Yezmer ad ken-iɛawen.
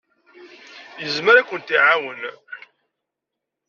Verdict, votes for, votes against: rejected, 0, 2